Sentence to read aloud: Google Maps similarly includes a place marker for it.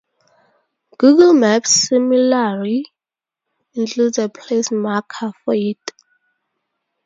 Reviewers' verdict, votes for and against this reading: rejected, 2, 2